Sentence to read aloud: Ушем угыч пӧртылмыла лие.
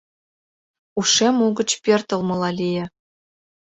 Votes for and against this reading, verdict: 2, 0, accepted